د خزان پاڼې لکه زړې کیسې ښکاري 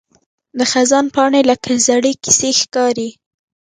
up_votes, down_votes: 2, 0